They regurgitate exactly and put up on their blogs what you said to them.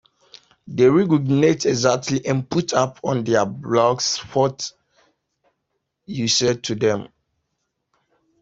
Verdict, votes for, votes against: rejected, 1, 2